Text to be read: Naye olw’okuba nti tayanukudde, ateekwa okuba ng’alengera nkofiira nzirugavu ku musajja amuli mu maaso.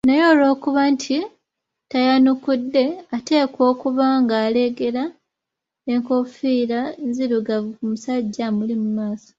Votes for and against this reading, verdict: 0, 2, rejected